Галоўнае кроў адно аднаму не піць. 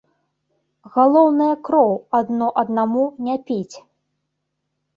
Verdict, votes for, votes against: accepted, 2, 0